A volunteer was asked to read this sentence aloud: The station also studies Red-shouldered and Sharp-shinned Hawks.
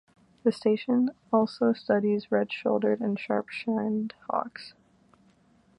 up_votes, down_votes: 2, 0